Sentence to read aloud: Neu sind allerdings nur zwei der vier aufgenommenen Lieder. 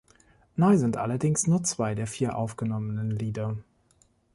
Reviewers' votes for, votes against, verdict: 2, 0, accepted